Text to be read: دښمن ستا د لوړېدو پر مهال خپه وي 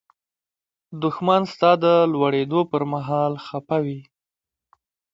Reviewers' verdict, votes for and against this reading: accepted, 2, 1